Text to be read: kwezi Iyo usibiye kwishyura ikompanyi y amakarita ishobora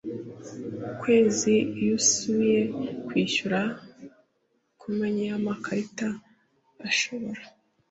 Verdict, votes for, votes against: rejected, 1, 2